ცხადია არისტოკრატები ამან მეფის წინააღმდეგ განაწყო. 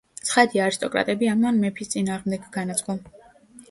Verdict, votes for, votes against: accepted, 2, 0